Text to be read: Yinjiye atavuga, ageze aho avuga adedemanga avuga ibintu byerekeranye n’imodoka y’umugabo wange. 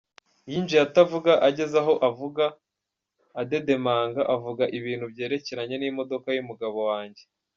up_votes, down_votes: 2, 1